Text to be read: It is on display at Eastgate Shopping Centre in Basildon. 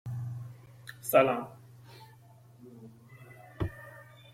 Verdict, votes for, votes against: rejected, 0, 2